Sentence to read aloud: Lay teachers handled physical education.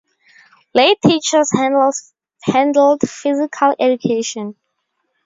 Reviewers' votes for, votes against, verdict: 2, 0, accepted